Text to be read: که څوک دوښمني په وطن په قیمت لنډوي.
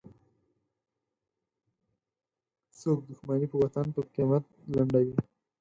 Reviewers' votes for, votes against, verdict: 0, 4, rejected